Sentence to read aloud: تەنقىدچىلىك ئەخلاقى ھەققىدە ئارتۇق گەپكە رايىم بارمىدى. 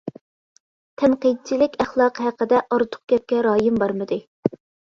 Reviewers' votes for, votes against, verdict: 2, 0, accepted